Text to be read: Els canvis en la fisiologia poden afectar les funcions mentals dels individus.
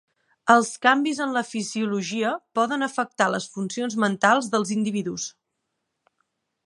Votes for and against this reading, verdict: 3, 0, accepted